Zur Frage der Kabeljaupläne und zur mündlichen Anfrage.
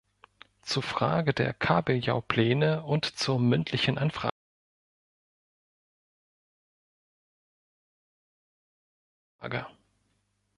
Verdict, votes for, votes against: rejected, 0, 2